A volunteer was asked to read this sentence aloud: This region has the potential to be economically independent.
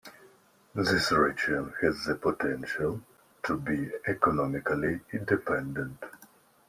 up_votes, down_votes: 0, 2